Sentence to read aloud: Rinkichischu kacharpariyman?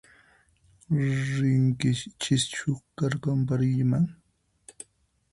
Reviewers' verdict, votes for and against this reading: rejected, 0, 4